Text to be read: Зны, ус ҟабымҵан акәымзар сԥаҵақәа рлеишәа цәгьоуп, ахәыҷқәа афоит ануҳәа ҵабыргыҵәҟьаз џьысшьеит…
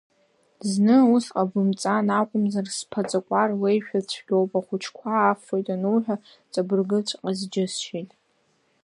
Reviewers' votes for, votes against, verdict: 2, 0, accepted